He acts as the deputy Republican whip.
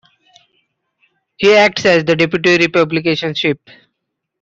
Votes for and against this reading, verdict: 1, 2, rejected